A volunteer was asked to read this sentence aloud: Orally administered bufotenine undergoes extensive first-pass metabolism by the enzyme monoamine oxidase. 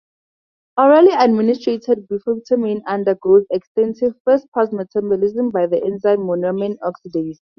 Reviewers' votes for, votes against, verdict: 2, 2, rejected